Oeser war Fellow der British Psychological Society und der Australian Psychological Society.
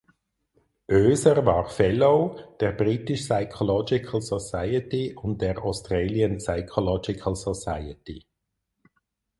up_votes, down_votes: 4, 0